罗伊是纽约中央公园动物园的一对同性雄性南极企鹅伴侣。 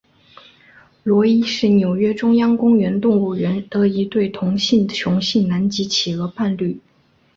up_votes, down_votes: 2, 0